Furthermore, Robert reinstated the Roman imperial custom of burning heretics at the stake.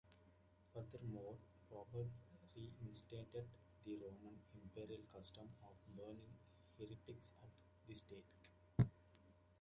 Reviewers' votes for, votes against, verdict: 1, 3, rejected